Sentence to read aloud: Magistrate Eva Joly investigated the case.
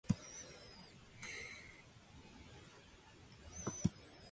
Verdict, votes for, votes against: rejected, 0, 2